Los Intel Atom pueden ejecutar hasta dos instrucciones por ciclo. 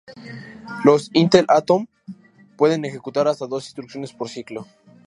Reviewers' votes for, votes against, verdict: 2, 0, accepted